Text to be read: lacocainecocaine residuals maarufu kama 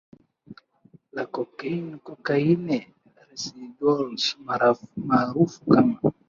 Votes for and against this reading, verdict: 0, 2, rejected